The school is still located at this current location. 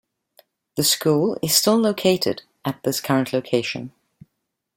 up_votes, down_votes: 2, 0